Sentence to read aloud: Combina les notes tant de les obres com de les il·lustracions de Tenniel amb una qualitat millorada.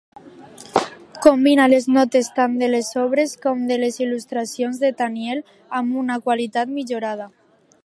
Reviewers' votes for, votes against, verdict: 2, 0, accepted